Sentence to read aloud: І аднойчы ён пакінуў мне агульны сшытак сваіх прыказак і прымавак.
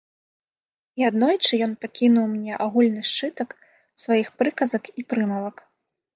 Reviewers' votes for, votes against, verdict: 2, 0, accepted